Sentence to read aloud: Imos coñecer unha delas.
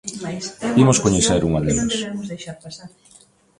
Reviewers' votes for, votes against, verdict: 0, 2, rejected